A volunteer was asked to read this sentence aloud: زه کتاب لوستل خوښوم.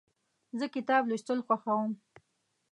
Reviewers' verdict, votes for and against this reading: rejected, 1, 2